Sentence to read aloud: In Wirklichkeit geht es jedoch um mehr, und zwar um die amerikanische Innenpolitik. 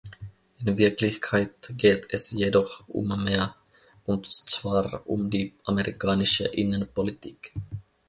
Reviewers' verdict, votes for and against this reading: accepted, 2, 0